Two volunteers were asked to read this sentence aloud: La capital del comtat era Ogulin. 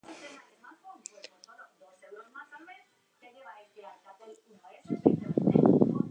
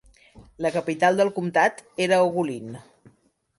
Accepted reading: second